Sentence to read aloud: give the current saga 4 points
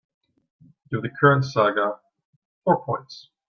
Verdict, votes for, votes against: rejected, 0, 2